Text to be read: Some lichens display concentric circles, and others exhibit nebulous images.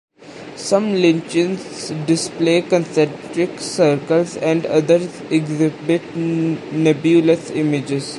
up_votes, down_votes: 0, 2